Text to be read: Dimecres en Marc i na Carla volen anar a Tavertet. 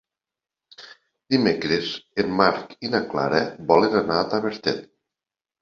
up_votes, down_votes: 1, 3